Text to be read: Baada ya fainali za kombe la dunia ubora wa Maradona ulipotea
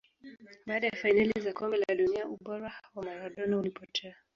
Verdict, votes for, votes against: rejected, 0, 2